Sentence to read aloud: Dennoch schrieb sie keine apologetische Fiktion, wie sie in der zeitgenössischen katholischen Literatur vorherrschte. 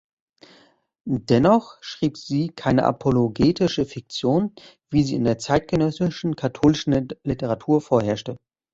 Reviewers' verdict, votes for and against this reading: rejected, 0, 3